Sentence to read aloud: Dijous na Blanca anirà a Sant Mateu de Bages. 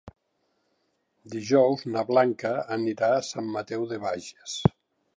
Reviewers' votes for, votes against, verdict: 3, 0, accepted